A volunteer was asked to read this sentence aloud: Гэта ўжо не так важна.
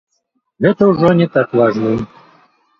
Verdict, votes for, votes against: rejected, 0, 2